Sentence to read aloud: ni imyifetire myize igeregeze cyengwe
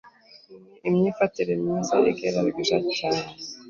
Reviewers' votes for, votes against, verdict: 1, 2, rejected